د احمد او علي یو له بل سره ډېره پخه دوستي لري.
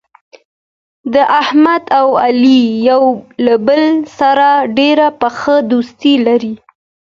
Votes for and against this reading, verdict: 2, 0, accepted